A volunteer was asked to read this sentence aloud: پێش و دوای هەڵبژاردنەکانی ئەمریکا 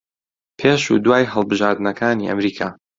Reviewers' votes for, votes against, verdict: 2, 0, accepted